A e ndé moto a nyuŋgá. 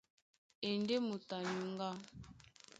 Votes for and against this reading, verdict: 2, 0, accepted